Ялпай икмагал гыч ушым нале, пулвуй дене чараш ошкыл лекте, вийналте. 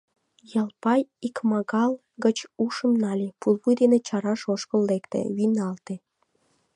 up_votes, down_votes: 2, 0